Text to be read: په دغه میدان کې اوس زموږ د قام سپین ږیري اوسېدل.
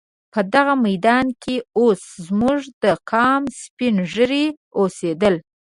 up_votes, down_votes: 3, 0